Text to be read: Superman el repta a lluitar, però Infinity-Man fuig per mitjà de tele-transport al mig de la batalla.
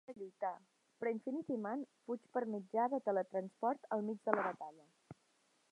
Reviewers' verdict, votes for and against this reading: rejected, 0, 2